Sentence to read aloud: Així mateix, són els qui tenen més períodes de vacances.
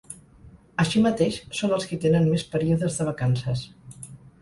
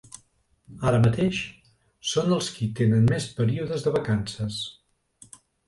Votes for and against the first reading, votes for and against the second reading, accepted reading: 6, 0, 0, 2, first